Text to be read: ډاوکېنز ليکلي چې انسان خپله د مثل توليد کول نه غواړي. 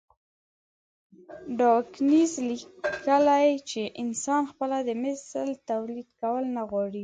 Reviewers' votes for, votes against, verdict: 2, 1, accepted